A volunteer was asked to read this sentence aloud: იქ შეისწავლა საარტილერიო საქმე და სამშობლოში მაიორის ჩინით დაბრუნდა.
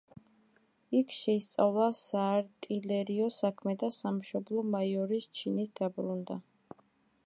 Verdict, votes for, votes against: rejected, 0, 2